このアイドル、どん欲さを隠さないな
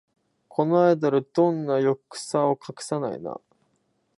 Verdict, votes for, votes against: rejected, 1, 2